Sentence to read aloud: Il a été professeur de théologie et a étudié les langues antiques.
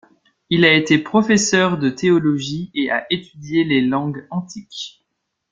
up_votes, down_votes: 2, 1